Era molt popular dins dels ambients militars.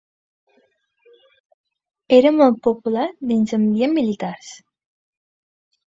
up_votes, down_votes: 0, 2